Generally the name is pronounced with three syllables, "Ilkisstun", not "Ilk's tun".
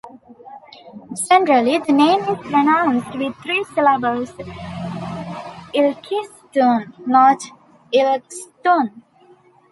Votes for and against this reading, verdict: 0, 2, rejected